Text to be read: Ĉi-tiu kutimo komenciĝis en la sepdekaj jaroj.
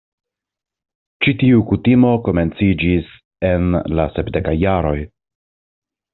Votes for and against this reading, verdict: 2, 0, accepted